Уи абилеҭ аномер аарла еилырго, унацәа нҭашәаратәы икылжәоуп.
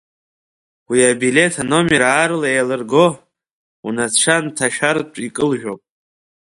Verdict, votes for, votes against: rejected, 0, 2